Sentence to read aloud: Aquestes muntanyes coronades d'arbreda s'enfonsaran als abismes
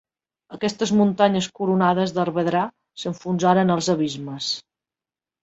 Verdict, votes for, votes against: rejected, 0, 2